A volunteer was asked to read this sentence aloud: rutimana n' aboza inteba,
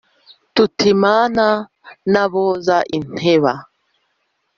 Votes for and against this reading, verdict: 1, 2, rejected